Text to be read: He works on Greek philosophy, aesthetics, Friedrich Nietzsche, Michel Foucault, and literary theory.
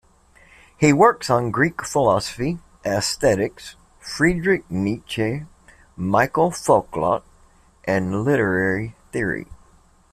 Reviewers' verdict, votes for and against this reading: rejected, 1, 2